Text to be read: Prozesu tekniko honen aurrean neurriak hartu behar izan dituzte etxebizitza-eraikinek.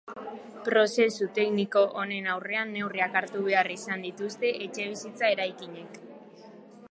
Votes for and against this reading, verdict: 2, 0, accepted